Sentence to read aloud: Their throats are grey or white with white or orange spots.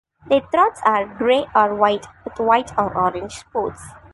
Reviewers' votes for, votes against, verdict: 2, 0, accepted